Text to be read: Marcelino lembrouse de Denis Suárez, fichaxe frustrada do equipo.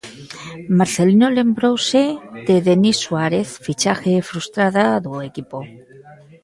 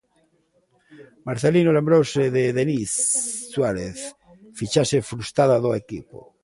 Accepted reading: second